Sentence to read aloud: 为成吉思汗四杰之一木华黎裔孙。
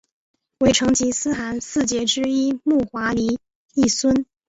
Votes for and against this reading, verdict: 2, 0, accepted